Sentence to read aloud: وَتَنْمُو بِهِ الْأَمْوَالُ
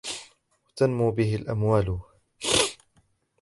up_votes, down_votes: 0, 2